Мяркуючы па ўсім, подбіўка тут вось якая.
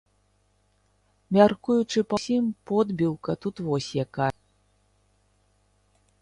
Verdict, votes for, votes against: rejected, 0, 3